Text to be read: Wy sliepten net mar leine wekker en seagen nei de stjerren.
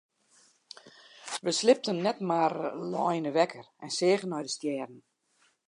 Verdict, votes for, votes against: accepted, 2, 0